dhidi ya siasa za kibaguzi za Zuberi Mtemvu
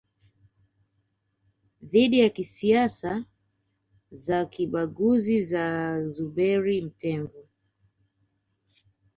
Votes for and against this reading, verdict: 1, 2, rejected